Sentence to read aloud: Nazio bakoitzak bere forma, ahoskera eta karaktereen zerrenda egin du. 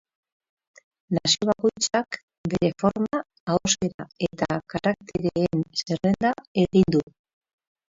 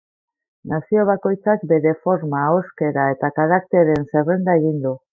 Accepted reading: second